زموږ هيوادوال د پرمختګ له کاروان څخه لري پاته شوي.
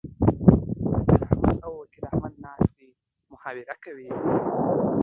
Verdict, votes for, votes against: rejected, 0, 2